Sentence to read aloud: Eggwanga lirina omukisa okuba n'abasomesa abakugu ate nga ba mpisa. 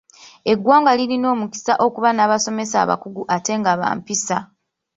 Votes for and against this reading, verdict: 2, 1, accepted